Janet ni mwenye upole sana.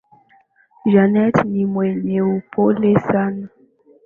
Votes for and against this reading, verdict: 4, 0, accepted